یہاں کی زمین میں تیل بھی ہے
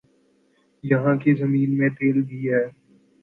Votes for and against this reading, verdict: 2, 0, accepted